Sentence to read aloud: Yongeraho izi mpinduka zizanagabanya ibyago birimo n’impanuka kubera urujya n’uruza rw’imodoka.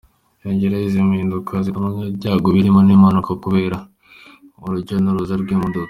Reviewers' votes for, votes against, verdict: 2, 0, accepted